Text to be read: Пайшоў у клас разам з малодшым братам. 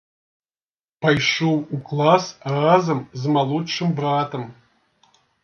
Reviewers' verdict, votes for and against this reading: accepted, 2, 0